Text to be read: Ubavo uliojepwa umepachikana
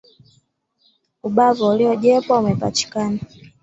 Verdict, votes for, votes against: accepted, 2, 0